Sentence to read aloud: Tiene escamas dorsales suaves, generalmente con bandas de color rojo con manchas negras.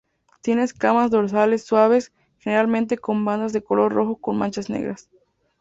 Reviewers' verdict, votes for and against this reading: accepted, 4, 0